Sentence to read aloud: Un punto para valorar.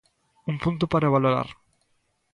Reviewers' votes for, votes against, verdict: 2, 0, accepted